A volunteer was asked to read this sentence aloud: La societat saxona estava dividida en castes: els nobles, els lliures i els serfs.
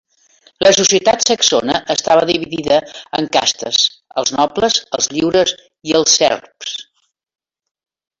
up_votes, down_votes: 0, 2